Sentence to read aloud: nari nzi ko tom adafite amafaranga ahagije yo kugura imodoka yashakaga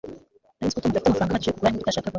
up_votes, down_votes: 1, 2